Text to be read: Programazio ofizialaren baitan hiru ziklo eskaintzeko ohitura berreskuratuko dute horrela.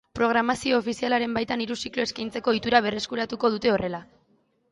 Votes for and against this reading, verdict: 0, 2, rejected